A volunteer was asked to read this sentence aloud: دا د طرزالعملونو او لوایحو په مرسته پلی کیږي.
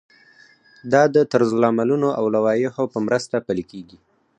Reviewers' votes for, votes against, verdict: 2, 4, rejected